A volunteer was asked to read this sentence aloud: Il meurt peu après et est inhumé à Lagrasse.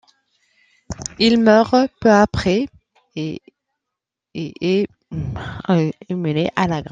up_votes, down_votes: 0, 2